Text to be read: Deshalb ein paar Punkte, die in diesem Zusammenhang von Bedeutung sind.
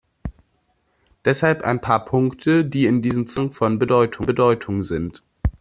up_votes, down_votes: 0, 2